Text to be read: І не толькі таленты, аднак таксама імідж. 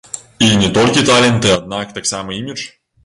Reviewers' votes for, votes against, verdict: 1, 2, rejected